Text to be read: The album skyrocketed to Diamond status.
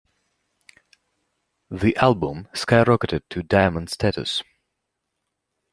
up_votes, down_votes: 2, 0